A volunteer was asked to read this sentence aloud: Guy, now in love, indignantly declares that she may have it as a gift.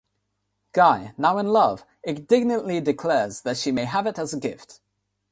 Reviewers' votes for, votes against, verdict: 3, 0, accepted